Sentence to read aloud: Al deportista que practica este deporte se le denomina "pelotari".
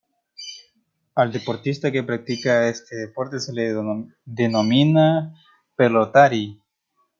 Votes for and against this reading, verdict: 1, 2, rejected